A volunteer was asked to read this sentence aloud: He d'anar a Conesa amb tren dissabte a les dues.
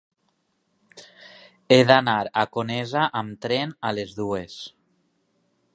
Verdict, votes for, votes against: rejected, 1, 3